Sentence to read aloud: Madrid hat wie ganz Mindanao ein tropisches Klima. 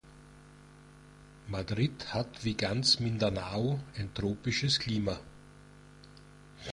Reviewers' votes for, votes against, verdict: 2, 0, accepted